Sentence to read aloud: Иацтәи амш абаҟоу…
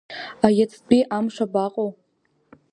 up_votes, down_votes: 2, 0